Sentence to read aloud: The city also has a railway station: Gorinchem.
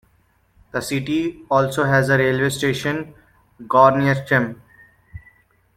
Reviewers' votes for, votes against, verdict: 1, 3, rejected